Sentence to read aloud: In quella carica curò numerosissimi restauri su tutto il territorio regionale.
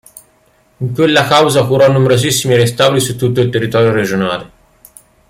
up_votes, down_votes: 0, 2